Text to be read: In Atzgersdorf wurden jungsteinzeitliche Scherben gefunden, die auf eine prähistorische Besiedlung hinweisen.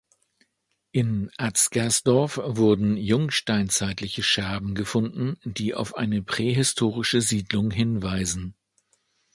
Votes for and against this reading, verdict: 0, 2, rejected